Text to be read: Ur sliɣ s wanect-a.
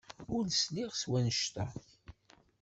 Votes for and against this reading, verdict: 2, 0, accepted